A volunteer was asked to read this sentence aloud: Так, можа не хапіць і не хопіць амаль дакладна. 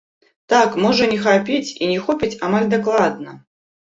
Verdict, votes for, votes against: rejected, 1, 2